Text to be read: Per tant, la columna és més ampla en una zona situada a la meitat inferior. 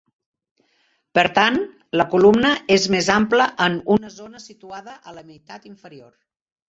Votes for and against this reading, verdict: 0, 2, rejected